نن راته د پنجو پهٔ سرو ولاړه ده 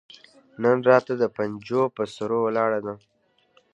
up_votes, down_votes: 2, 0